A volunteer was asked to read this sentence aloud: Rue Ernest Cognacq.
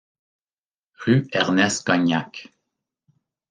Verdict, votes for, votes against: accepted, 2, 0